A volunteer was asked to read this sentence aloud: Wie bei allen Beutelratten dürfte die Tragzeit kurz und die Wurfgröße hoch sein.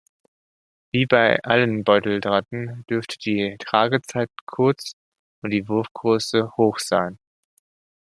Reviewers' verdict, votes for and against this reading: rejected, 0, 2